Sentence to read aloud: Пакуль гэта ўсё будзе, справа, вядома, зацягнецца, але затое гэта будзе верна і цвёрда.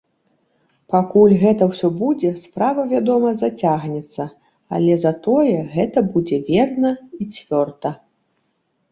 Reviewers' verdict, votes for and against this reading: accepted, 2, 0